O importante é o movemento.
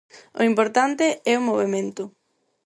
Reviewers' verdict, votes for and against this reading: accepted, 4, 0